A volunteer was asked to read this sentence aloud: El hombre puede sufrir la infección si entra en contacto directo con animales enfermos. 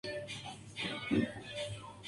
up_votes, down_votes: 0, 2